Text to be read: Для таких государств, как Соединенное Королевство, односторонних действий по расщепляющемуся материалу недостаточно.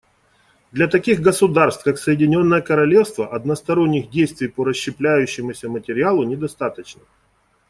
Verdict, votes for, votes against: accepted, 2, 0